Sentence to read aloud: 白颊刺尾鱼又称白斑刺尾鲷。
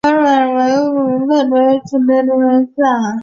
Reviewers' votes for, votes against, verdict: 0, 2, rejected